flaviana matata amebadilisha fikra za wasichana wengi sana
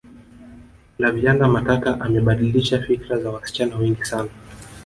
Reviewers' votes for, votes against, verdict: 0, 2, rejected